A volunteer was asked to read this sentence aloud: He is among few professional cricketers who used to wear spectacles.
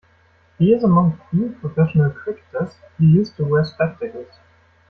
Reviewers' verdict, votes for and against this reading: rejected, 1, 2